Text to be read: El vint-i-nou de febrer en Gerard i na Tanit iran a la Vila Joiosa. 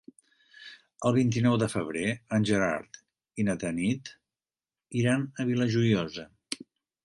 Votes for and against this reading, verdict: 0, 2, rejected